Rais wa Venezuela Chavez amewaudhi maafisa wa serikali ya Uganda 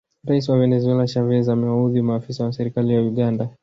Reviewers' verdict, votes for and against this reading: accepted, 2, 0